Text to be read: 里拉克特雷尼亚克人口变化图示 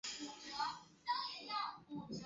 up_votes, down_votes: 1, 3